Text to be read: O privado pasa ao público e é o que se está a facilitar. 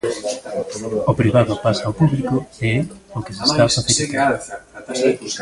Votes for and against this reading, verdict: 1, 2, rejected